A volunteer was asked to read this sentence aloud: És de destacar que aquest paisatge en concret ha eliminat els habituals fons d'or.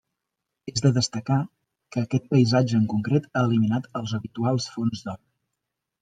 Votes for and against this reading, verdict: 3, 0, accepted